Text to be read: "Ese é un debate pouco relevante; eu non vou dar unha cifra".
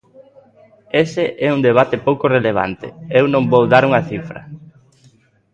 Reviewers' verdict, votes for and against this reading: accepted, 2, 0